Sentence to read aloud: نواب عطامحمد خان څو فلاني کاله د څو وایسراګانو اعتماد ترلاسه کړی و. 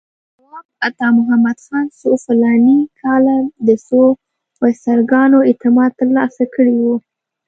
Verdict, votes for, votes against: rejected, 1, 2